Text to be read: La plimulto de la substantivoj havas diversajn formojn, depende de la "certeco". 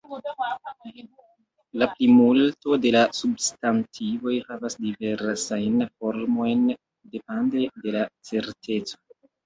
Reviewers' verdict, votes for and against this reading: rejected, 0, 2